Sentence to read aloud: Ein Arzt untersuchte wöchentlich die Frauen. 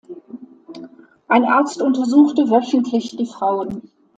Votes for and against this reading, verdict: 2, 0, accepted